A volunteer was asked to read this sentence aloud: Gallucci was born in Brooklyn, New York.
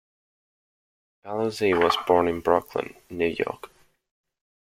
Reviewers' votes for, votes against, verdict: 0, 2, rejected